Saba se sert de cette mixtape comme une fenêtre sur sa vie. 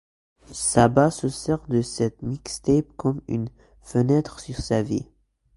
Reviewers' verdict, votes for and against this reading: accepted, 2, 0